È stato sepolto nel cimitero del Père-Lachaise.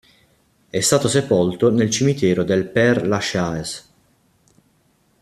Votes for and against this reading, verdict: 2, 1, accepted